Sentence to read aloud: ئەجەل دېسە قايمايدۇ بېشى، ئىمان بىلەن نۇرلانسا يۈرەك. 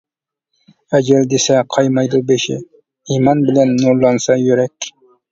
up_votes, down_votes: 2, 0